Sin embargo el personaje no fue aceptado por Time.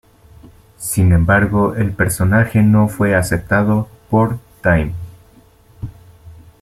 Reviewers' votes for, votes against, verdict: 1, 2, rejected